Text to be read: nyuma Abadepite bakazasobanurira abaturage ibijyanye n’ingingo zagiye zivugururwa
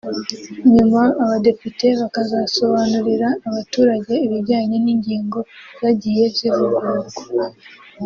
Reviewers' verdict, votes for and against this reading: accepted, 3, 0